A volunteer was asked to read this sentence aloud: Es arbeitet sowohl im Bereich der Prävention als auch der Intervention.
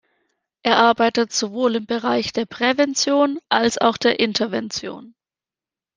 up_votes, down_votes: 1, 2